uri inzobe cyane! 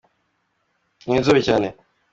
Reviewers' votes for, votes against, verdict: 2, 0, accepted